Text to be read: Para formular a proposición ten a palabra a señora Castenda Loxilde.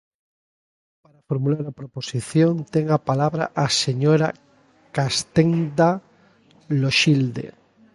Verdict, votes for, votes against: rejected, 0, 2